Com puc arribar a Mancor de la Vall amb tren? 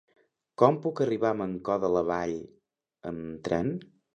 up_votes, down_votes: 3, 0